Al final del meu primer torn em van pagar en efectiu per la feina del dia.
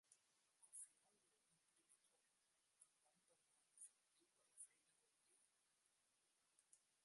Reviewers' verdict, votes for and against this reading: rejected, 0, 3